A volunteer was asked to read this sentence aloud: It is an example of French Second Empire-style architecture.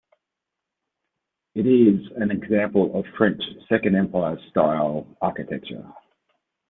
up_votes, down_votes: 2, 0